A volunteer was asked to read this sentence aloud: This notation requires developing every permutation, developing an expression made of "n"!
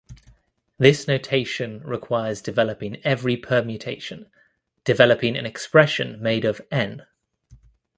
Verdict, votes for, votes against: accepted, 2, 0